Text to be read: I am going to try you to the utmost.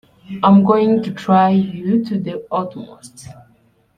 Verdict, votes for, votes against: rejected, 1, 2